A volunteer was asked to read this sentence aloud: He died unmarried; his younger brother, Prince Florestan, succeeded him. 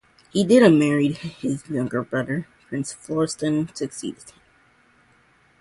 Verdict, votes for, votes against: rejected, 2, 2